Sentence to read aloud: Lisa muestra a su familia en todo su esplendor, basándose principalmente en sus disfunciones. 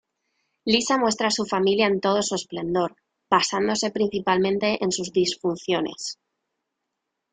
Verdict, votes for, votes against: accepted, 2, 0